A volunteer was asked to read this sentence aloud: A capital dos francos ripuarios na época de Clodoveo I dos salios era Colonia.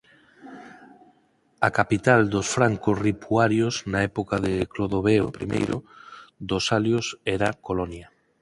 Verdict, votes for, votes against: rejected, 2, 4